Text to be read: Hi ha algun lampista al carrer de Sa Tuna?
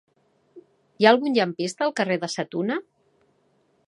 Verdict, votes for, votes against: rejected, 0, 2